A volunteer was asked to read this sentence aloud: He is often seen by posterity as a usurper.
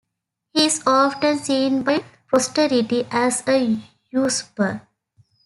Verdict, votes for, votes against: rejected, 2, 3